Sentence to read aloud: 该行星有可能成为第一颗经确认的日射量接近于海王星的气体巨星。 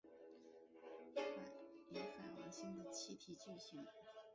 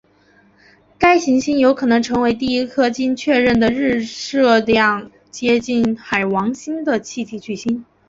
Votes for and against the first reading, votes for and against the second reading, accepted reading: 0, 3, 2, 0, second